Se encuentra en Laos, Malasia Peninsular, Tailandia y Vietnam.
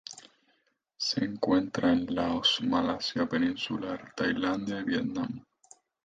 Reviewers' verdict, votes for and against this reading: rejected, 0, 2